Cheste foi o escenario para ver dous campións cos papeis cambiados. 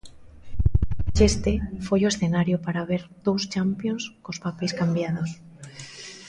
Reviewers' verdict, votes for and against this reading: rejected, 0, 2